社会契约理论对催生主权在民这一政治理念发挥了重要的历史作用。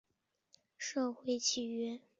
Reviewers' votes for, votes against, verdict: 1, 2, rejected